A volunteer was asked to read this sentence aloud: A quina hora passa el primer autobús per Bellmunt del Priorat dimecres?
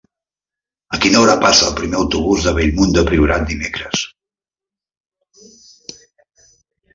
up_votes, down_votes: 1, 2